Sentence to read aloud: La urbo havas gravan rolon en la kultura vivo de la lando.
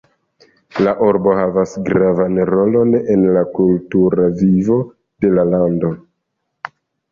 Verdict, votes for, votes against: rejected, 1, 2